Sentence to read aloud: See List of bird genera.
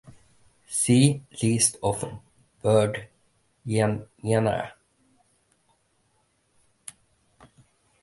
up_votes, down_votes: 0, 2